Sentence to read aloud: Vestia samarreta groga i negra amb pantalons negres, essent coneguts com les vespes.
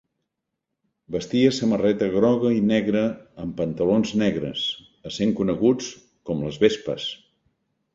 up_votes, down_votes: 2, 0